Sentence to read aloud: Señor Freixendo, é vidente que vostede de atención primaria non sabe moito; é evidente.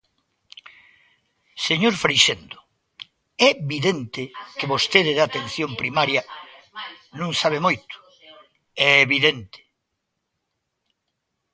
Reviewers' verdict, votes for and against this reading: rejected, 1, 2